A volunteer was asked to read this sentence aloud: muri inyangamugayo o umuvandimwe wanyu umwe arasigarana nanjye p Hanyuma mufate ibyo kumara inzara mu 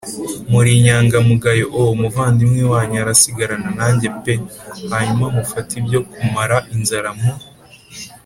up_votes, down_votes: 2, 1